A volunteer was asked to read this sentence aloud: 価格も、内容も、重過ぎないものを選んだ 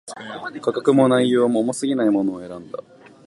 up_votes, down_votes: 4, 0